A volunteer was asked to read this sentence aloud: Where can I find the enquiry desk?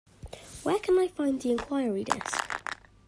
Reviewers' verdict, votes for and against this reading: accepted, 2, 0